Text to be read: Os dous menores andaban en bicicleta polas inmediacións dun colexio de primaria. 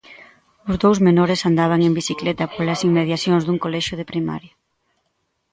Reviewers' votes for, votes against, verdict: 2, 0, accepted